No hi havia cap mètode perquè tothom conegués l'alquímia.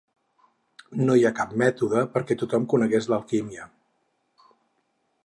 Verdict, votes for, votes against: rejected, 4, 6